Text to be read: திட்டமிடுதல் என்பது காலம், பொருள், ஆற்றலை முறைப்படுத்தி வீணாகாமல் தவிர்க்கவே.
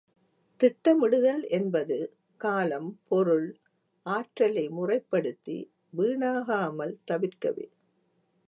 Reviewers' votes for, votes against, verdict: 2, 0, accepted